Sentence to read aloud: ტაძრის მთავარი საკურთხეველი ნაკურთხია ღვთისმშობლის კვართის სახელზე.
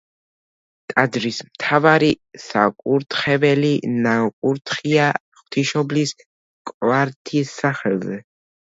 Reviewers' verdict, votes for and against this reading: accepted, 2, 1